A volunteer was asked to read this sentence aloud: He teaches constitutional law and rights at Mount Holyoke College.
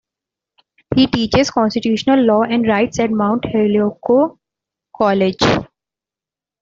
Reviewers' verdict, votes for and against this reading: accepted, 2, 1